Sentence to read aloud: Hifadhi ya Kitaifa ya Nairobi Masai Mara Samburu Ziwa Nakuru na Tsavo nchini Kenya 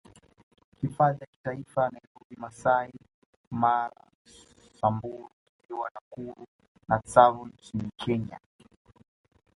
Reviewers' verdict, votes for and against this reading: rejected, 1, 2